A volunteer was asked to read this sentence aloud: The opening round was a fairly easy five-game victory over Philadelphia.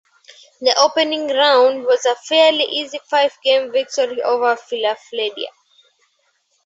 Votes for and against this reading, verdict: 0, 2, rejected